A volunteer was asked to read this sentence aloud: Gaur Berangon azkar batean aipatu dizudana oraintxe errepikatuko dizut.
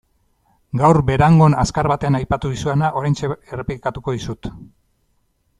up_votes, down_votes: 0, 2